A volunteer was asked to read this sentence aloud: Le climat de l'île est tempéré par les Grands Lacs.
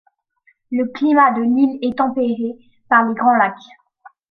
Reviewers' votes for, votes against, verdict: 2, 0, accepted